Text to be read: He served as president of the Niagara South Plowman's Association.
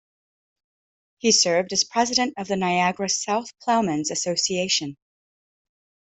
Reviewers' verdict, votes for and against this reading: accepted, 7, 0